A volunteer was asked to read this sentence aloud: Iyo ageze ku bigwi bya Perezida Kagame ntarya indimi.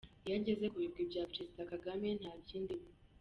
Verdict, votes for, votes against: rejected, 1, 2